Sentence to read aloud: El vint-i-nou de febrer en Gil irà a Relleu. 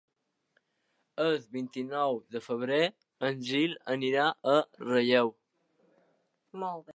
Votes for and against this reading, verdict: 0, 2, rejected